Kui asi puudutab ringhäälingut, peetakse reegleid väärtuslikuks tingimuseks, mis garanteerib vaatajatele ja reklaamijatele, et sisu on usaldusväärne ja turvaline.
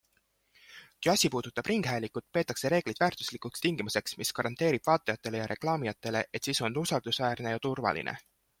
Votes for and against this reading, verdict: 2, 0, accepted